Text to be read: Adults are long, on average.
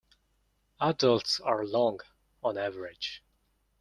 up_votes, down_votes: 1, 2